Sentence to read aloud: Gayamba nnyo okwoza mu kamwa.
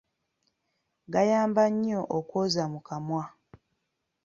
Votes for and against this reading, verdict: 2, 0, accepted